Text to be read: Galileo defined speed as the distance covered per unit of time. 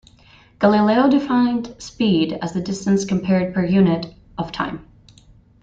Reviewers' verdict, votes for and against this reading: rejected, 0, 2